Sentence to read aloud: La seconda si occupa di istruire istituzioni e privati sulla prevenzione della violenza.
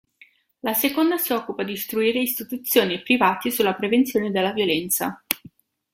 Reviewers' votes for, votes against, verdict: 2, 0, accepted